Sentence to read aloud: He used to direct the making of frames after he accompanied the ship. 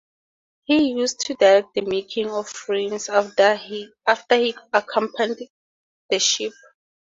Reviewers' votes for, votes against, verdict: 2, 0, accepted